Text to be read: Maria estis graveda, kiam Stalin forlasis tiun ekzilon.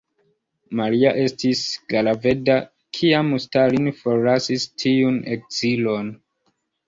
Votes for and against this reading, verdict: 2, 0, accepted